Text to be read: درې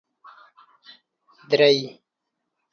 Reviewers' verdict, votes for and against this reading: accepted, 2, 0